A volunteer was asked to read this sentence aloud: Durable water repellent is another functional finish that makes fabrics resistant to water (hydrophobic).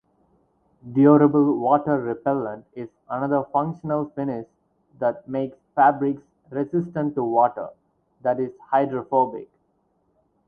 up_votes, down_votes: 0, 4